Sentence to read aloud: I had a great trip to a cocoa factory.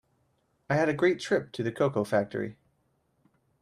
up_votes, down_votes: 2, 0